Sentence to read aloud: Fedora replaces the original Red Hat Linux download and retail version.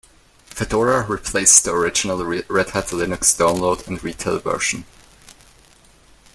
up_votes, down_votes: 0, 2